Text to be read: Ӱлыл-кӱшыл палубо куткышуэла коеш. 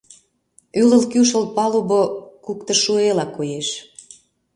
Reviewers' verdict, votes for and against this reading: rejected, 0, 2